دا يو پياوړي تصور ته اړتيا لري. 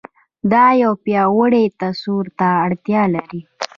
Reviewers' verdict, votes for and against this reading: rejected, 0, 2